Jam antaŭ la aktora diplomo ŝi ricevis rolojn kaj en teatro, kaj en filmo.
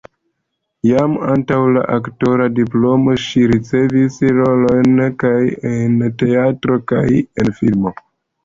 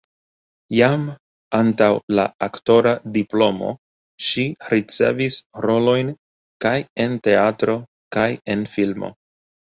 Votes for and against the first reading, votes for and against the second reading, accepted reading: 1, 2, 2, 0, second